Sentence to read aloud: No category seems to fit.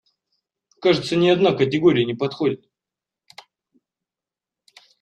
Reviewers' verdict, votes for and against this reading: rejected, 0, 2